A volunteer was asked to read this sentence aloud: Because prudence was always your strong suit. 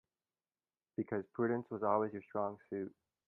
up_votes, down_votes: 2, 1